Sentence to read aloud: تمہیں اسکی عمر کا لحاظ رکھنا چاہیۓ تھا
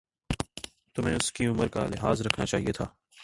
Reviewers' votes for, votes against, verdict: 0, 2, rejected